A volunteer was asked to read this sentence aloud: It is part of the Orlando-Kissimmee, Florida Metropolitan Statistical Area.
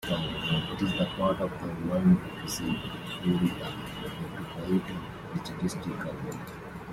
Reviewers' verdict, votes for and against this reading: rejected, 0, 2